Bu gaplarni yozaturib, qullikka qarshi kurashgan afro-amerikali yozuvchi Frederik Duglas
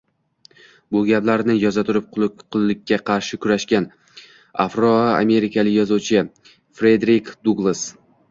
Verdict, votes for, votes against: rejected, 1, 2